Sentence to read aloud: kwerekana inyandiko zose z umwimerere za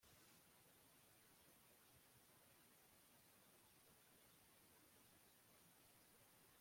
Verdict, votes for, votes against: rejected, 0, 3